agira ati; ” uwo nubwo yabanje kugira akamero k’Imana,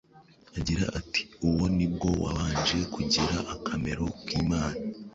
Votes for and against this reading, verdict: 1, 2, rejected